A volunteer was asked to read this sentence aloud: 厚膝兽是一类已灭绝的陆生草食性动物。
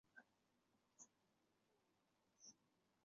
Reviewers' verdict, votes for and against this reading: rejected, 1, 5